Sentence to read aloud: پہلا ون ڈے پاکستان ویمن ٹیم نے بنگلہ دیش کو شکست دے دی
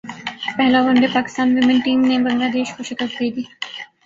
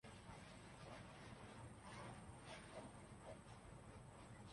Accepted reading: first